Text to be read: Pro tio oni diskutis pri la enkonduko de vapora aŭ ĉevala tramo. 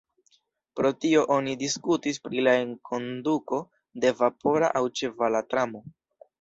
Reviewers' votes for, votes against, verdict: 2, 0, accepted